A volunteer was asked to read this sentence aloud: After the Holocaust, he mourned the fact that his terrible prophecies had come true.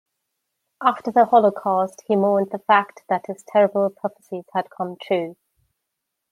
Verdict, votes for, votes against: accepted, 2, 0